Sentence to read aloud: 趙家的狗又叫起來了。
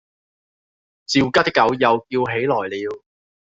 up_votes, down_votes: 2, 0